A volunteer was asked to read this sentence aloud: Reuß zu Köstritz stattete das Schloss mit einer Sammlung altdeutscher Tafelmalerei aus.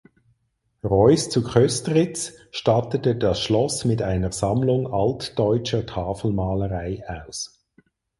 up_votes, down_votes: 4, 0